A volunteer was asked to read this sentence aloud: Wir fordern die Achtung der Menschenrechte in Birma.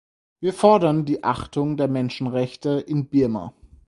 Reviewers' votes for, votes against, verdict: 4, 0, accepted